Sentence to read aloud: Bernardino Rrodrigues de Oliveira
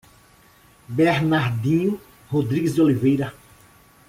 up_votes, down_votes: 2, 1